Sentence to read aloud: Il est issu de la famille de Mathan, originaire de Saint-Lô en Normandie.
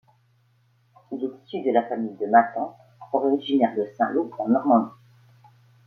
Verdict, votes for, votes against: rejected, 1, 2